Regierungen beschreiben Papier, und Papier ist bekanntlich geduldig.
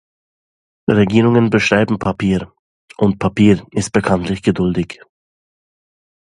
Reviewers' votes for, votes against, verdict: 2, 0, accepted